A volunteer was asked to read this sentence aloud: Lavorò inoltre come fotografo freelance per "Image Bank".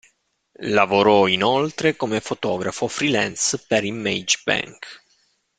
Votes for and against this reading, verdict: 2, 0, accepted